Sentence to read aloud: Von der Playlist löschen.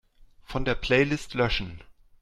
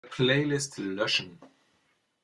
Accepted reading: first